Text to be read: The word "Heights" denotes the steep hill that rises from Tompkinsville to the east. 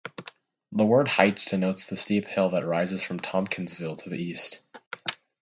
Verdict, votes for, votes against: accepted, 4, 0